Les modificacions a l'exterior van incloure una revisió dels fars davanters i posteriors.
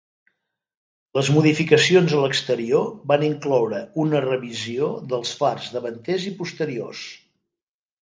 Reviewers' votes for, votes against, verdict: 2, 0, accepted